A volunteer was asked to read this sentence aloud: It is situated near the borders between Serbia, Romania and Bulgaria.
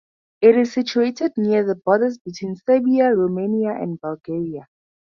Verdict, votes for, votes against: accepted, 4, 0